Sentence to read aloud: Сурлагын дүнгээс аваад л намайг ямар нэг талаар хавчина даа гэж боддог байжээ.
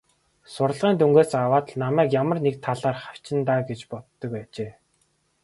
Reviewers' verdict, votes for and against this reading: accepted, 2, 1